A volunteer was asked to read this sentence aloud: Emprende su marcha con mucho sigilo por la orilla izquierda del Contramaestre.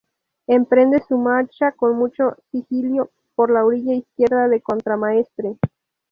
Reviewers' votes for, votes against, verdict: 0, 2, rejected